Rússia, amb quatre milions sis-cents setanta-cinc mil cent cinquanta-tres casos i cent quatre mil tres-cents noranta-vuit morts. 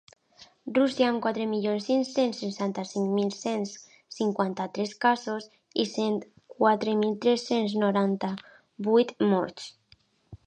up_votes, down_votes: 1, 2